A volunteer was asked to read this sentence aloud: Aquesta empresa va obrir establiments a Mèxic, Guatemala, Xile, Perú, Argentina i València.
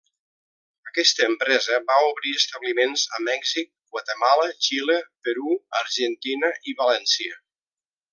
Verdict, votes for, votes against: accepted, 3, 0